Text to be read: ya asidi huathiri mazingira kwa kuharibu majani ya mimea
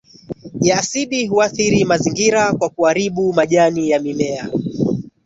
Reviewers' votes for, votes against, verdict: 1, 2, rejected